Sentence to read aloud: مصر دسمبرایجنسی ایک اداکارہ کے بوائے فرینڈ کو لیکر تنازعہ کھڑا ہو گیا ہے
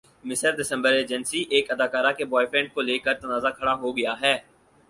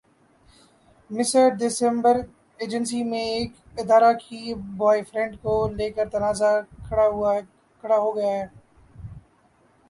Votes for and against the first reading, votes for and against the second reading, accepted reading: 4, 0, 1, 2, first